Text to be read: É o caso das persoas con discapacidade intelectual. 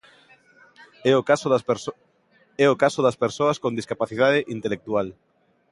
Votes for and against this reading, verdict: 2, 1, accepted